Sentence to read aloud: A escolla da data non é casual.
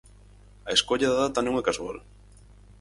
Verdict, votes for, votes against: accepted, 4, 0